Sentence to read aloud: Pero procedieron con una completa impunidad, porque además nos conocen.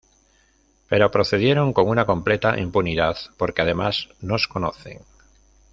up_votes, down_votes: 0, 2